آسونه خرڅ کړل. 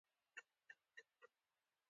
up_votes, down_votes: 0, 2